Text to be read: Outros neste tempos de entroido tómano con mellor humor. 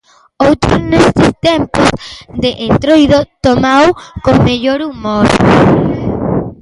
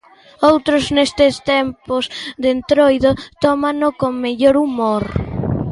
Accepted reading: second